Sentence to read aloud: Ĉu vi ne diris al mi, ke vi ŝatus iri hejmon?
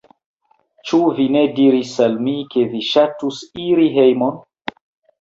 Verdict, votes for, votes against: rejected, 0, 2